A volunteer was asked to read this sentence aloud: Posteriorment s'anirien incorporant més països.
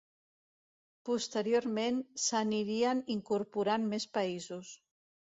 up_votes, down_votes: 2, 0